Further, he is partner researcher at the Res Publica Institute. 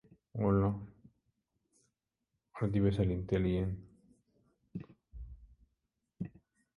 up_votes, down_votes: 0, 2